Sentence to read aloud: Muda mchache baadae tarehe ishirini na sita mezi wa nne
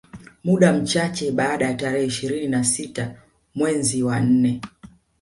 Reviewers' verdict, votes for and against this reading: accepted, 2, 1